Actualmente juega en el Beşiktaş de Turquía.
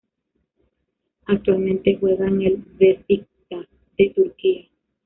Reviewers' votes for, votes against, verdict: 0, 2, rejected